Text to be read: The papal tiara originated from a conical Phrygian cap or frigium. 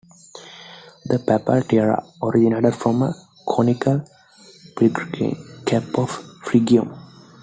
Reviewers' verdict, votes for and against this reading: rejected, 0, 2